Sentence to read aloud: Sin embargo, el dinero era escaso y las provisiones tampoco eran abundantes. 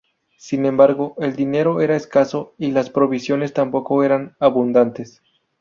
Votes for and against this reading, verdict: 2, 0, accepted